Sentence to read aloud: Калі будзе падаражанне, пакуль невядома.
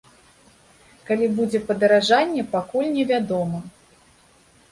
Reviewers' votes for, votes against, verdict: 2, 0, accepted